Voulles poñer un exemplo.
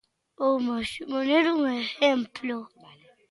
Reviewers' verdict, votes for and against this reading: rejected, 0, 2